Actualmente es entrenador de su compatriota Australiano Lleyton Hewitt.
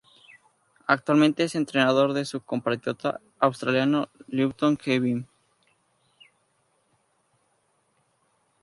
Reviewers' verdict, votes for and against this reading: accepted, 2, 0